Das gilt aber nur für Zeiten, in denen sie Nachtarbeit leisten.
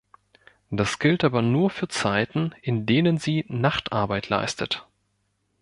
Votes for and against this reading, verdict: 1, 2, rejected